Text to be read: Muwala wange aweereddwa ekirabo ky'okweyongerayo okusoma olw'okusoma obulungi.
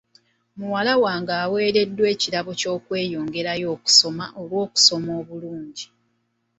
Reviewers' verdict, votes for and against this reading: accepted, 2, 0